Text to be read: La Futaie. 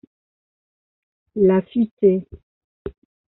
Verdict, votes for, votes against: accepted, 2, 1